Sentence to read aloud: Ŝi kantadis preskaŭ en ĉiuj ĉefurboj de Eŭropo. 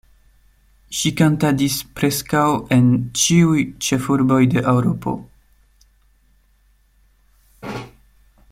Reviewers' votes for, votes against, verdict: 2, 0, accepted